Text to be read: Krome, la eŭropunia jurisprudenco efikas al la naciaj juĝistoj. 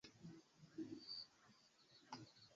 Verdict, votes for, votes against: rejected, 0, 2